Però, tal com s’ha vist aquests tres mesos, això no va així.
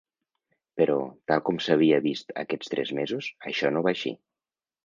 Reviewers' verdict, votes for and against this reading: rejected, 1, 3